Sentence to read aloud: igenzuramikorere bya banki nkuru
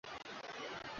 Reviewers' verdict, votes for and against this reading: rejected, 0, 2